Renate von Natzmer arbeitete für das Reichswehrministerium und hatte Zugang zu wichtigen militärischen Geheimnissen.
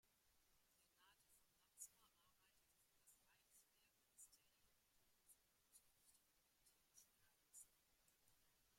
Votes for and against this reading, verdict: 0, 2, rejected